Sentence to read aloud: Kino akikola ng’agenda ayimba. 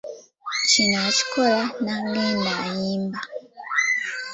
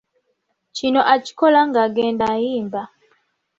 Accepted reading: second